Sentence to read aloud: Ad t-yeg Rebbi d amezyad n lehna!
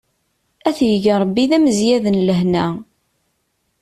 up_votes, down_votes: 2, 0